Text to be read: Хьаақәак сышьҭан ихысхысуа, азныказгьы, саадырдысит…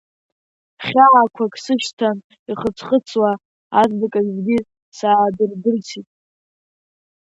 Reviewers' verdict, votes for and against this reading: accepted, 2, 0